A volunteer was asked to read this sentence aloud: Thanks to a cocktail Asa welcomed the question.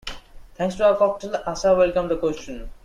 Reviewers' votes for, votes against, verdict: 1, 2, rejected